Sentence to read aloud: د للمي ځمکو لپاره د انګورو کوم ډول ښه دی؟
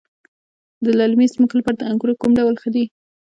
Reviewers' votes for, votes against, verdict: 1, 2, rejected